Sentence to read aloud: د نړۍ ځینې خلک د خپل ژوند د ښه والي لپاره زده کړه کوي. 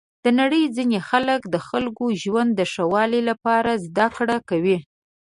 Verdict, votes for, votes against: accepted, 2, 1